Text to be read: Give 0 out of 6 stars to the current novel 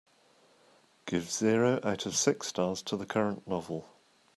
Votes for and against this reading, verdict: 0, 2, rejected